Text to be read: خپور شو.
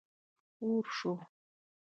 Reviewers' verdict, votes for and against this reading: rejected, 0, 2